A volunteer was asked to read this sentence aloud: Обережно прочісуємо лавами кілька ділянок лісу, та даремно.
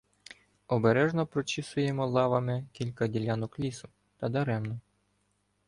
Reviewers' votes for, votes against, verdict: 2, 0, accepted